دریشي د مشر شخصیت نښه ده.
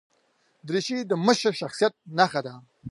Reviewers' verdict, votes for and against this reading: accepted, 2, 0